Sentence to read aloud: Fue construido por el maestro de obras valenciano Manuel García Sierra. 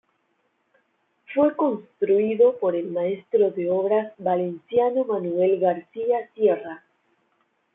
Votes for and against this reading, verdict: 2, 0, accepted